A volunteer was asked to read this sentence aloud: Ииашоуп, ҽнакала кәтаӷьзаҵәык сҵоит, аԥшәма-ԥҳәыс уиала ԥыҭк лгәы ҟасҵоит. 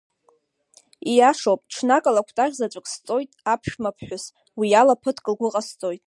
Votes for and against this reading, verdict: 0, 2, rejected